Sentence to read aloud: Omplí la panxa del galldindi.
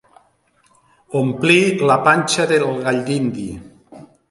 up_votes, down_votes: 2, 0